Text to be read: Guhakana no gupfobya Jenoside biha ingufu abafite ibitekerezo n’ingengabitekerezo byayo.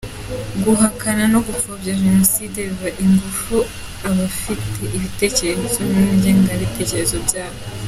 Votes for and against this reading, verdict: 2, 0, accepted